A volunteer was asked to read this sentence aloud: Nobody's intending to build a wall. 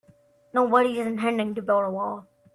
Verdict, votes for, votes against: rejected, 1, 2